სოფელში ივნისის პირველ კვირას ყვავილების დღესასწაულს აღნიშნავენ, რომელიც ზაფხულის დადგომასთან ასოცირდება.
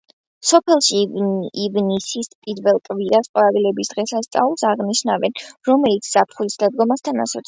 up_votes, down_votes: 0, 2